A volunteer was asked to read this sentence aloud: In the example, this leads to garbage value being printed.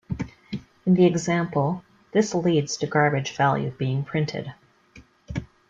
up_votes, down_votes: 2, 0